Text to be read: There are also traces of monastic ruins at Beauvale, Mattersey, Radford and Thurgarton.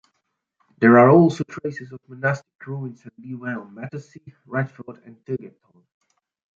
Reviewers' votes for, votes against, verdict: 1, 2, rejected